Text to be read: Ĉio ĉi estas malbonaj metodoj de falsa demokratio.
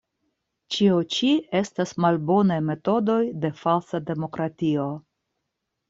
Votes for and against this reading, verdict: 2, 0, accepted